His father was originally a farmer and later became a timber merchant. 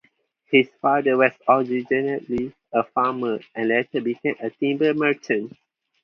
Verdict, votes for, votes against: rejected, 0, 4